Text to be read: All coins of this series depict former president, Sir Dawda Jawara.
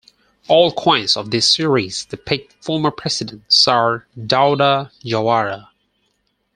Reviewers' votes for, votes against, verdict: 4, 2, accepted